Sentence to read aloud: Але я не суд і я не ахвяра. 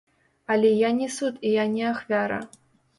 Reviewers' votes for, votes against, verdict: 1, 2, rejected